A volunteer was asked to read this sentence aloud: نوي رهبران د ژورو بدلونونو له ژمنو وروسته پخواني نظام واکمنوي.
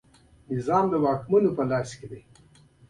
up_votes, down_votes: 1, 2